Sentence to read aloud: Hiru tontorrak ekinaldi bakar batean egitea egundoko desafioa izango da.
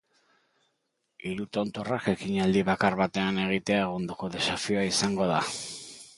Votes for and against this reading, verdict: 2, 0, accepted